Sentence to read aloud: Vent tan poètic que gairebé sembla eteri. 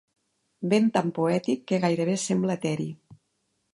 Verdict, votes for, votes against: accepted, 2, 0